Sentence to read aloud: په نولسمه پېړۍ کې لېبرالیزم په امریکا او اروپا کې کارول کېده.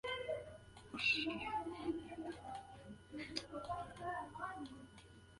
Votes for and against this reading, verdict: 3, 2, accepted